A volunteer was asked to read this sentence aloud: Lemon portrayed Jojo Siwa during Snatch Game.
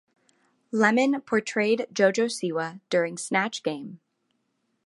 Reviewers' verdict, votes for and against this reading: accepted, 2, 0